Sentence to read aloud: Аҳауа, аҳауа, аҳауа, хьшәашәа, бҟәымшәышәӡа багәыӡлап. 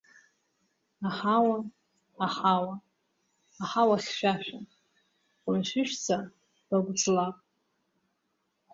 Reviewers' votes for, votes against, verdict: 1, 2, rejected